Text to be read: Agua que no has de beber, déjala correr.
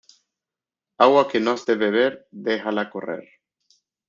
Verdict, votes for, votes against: accepted, 2, 0